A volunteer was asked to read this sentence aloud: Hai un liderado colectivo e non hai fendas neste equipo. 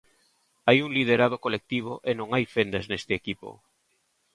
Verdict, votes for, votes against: accepted, 2, 0